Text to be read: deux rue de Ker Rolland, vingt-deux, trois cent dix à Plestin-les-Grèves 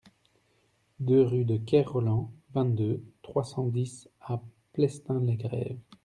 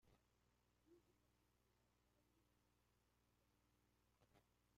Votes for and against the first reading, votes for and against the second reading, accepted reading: 2, 0, 0, 2, first